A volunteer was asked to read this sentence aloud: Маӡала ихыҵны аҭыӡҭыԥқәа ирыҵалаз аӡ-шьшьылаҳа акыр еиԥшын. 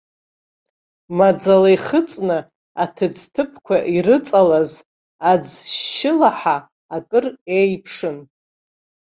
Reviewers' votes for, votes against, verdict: 2, 0, accepted